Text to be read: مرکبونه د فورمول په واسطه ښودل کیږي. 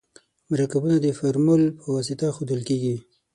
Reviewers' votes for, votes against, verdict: 6, 0, accepted